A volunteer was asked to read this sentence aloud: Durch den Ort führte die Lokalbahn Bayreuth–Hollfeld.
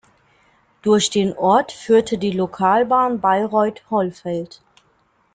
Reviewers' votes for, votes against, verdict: 2, 0, accepted